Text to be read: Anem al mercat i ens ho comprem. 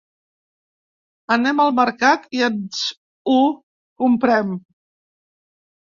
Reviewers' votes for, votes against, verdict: 0, 2, rejected